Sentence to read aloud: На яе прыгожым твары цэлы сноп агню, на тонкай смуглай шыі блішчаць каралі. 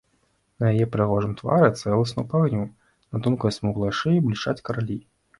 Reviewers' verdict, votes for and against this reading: rejected, 0, 2